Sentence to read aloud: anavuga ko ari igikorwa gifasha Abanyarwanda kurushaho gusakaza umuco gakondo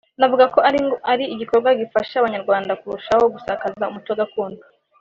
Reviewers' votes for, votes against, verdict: 1, 2, rejected